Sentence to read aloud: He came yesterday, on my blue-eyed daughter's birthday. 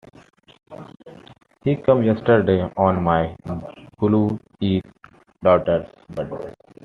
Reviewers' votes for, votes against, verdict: 1, 2, rejected